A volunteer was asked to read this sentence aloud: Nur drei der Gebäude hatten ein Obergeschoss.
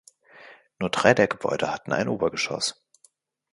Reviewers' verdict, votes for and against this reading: accepted, 2, 0